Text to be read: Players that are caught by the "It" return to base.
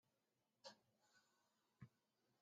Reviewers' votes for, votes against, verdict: 0, 2, rejected